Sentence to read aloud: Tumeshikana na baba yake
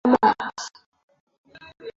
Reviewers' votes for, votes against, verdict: 0, 2, rejected